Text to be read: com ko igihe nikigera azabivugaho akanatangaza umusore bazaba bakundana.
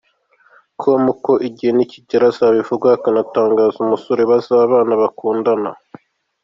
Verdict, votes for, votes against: accepted, 2, 1